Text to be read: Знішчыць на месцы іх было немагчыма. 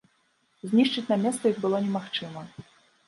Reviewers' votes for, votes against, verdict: 1, 2, rejected